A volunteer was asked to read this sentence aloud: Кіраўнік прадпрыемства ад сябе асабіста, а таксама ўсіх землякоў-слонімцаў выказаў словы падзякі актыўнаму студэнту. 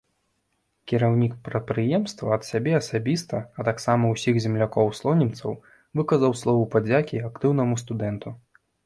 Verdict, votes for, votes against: accepted, 2, 0